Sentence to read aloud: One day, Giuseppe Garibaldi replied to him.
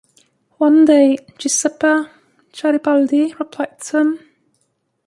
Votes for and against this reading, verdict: 1, 2, rejected